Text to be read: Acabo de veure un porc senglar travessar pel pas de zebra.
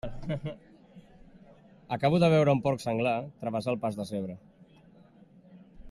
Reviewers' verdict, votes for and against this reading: rejected, 1, 2